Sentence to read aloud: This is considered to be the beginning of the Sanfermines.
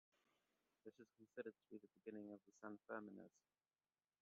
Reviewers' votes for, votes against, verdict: 0, 2, rejected